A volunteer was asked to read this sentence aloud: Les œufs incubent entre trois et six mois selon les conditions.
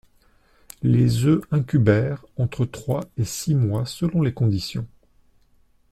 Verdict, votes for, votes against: rejected, 0, 2